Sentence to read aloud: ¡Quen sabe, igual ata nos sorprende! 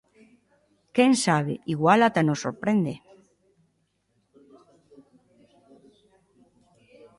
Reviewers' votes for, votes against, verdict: 2, 0, accepted